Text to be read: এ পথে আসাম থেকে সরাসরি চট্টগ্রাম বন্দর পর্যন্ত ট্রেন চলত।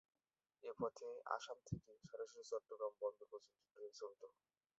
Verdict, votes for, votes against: rejected, 2, 2